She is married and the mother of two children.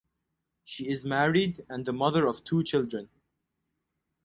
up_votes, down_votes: 4, 0